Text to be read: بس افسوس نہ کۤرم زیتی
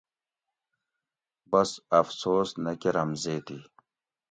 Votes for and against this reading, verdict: 2, 0, accepted